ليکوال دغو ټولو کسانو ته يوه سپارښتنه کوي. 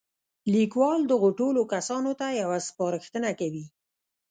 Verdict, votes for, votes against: rejected, 1, 2